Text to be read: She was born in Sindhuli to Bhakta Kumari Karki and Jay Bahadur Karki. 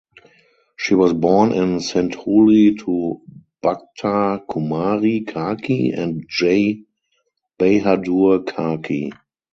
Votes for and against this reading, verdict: 2, 2, rejected